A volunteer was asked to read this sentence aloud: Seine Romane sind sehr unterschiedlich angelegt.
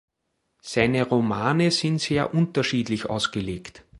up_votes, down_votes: 1, 2